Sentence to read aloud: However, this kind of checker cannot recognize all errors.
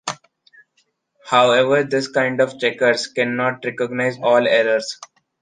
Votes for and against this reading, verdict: 0, 2, rejected